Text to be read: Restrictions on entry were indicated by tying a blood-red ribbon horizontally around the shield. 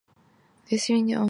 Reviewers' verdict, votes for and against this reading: rejected, 0, 2